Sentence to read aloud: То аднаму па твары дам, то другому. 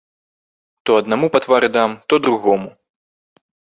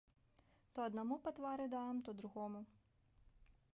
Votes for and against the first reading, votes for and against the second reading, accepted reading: 2, 0, 1, 2, first